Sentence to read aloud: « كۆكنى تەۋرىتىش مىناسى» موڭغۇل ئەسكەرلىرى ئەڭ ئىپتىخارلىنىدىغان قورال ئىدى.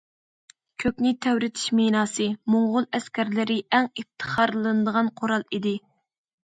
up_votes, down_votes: 2, 0